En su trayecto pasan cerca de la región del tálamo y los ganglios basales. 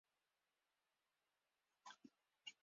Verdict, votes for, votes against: rejected, 0, 2